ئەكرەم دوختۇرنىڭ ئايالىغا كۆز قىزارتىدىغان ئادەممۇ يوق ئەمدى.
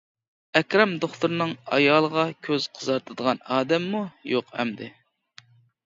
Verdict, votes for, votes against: accepted, 2, 0